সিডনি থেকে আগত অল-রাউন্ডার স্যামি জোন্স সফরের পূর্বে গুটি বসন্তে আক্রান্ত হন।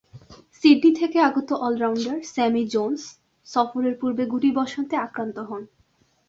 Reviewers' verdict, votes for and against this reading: rejected, 1, 2